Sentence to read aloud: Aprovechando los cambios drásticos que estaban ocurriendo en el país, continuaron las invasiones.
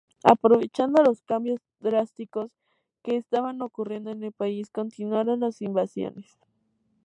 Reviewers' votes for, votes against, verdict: 2, 0, accepted